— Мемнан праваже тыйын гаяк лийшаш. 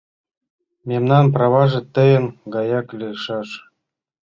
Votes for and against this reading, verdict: 2, 0, accepted